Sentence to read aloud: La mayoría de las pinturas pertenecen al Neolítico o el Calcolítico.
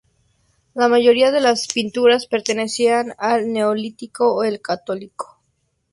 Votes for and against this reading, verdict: 0, 2, rejected